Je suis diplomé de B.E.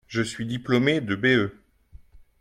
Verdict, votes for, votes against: accepted, 2, 0